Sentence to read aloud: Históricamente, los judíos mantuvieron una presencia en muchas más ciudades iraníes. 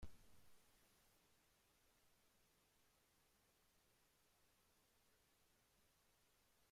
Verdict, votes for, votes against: rejected, 0, 2